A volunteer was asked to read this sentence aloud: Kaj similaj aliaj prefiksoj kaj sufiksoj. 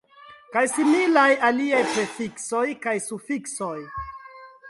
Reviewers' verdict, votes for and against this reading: accepted, 2, 0